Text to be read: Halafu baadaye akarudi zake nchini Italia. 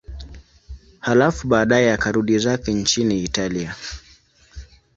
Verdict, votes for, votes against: accepted, 2, 0